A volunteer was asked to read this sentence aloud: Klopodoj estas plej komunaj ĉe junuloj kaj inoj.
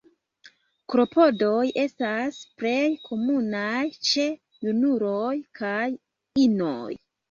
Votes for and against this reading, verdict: 2, 0, accepted